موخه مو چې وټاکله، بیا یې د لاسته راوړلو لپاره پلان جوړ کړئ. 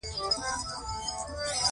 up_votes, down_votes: 2, 0